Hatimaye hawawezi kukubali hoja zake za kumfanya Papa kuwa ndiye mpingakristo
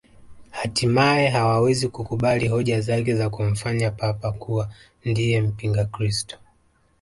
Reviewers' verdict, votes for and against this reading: accepted, 2, 0